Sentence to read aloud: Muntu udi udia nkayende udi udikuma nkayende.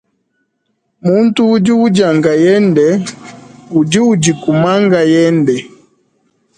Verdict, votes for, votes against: accepted, 2, 0